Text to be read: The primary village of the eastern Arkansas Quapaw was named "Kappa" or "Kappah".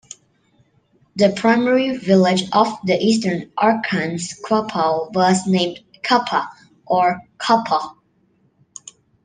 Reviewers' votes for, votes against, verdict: 1, 2, rejected